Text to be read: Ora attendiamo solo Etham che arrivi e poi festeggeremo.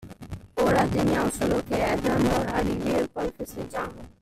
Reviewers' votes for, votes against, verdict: 0, 2, rejected